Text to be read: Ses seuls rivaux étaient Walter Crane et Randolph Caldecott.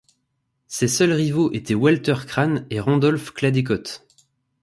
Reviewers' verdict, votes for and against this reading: rejected, 0, 2